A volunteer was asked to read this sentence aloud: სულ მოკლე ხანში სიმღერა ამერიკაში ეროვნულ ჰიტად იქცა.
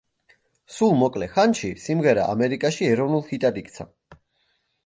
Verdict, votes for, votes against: accepted, 2, 0